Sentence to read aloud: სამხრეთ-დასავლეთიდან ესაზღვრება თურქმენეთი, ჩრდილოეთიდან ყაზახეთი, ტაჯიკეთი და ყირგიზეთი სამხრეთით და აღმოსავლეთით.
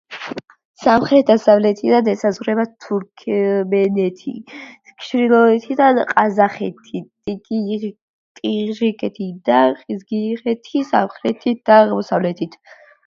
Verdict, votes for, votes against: accepted, 2, 1